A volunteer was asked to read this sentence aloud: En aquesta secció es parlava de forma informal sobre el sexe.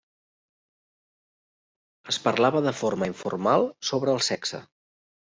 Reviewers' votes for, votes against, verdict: 0, 2, rejected